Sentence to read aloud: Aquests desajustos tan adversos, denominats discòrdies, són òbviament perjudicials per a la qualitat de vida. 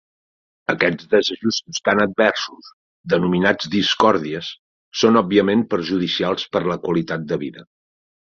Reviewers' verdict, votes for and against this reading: rejected, 1, 2